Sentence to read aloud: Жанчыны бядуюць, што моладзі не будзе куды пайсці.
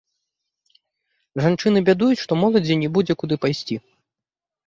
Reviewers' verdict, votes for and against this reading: accepted, 2, 1